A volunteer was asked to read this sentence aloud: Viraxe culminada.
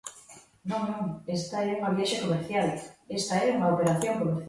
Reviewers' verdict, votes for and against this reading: rejected, 0, 2